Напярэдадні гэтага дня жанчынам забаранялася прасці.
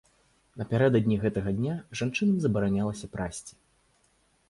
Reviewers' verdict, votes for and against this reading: accepted, 2, 0